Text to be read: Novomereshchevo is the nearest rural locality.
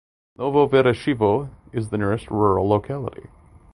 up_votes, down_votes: 2, 0